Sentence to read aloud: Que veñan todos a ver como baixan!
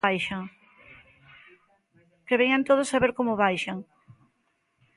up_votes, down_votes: 0, 3